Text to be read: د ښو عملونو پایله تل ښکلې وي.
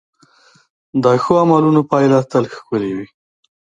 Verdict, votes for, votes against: rejected, 0, 2